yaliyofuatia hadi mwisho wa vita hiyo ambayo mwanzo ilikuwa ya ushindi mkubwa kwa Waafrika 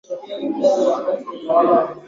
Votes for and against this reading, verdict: 0, 4, rejected